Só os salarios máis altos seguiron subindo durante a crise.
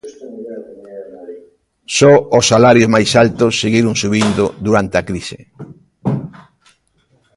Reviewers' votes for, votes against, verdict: 1, 2, rejected